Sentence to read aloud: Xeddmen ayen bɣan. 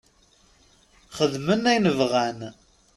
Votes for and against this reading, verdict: 0, 2, rejected